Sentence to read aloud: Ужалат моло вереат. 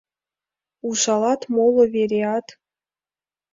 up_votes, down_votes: 2, 3